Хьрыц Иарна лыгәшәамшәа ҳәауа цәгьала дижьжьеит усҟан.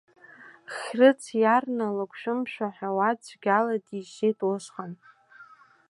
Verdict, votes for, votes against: rejected, 0, 2